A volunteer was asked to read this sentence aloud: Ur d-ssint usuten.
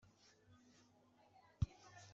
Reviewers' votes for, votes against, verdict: 1, 2, rejected